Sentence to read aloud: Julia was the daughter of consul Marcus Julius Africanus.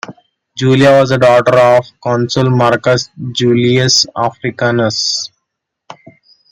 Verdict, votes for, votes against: rejected, 0, 2